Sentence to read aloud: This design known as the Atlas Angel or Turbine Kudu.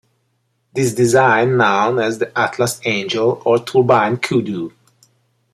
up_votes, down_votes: 1, 2